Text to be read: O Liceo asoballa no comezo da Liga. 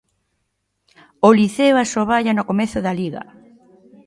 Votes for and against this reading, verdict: 2, 0, accepted